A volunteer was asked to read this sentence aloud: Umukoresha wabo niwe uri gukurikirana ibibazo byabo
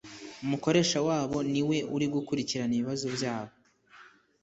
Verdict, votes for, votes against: accepted, 2, 0